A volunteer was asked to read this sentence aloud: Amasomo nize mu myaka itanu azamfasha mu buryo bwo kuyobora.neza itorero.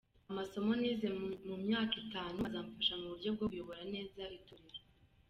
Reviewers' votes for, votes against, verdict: 2, 0, accepted